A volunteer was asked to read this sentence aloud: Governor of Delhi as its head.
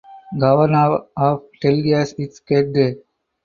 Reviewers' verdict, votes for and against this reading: rejected, 2, 2